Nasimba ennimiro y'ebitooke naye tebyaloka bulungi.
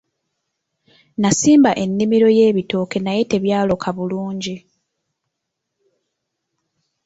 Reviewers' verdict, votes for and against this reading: accepted, 2, 0